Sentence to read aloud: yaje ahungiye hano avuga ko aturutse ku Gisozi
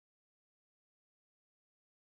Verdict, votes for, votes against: rejected, 0, 2